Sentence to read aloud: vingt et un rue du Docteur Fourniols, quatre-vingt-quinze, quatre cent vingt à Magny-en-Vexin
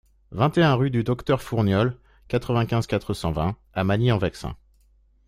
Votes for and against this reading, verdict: 2, 0, accepted